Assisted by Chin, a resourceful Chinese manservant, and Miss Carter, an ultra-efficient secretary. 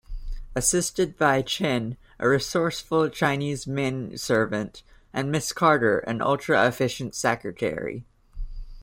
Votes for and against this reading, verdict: 2, 0, accepted